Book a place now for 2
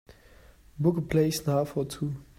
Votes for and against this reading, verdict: 0, 2, rejected